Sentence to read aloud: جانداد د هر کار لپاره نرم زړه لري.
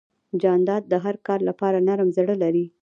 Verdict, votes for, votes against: rejected, 0, 2